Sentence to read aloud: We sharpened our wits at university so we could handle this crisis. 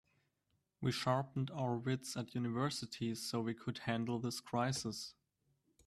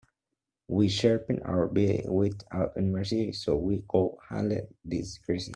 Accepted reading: first